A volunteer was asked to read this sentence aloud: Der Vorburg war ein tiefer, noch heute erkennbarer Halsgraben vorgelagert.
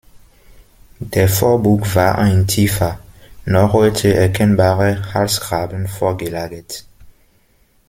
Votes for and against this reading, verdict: 1, 2, rejected